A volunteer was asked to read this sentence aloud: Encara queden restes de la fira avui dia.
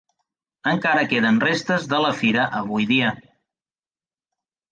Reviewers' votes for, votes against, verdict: 4, 1, accepted